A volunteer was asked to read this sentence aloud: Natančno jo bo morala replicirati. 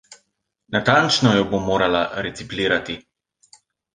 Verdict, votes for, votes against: rejected, 1, 2